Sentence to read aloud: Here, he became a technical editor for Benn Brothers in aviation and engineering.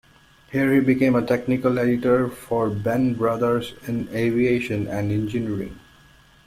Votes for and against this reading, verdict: 2, 0, accepted